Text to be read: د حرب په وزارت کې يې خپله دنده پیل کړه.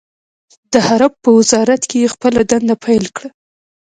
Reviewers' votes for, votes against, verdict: 2, 0, accepted